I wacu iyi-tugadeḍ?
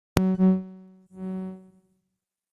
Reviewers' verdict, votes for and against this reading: rejected, 0, 2